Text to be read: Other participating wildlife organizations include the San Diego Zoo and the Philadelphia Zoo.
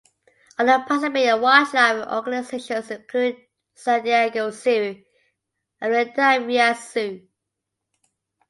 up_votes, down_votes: 1, 2